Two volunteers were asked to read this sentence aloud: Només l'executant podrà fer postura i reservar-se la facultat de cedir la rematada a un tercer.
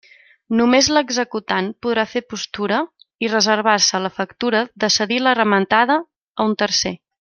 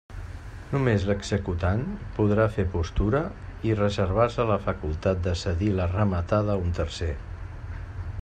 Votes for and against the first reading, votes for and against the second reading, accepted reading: 0, 2, 2, 0, second